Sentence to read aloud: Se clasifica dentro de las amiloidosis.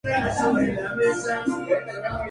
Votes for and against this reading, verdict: 0, 4, rejected